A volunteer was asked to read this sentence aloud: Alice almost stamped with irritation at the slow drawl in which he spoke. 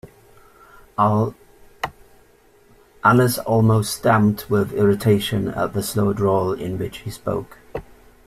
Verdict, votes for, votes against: rejected, 1, 2